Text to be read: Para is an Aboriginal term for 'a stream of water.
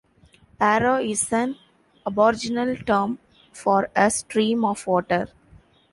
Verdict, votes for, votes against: rejected, 1, 2